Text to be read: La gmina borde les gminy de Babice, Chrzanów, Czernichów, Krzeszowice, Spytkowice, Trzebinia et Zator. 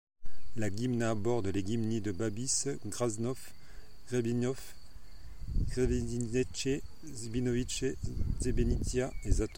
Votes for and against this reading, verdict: 1, 2, rejected